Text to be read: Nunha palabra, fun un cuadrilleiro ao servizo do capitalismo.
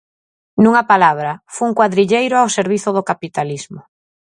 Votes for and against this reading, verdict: 0, 4, rejected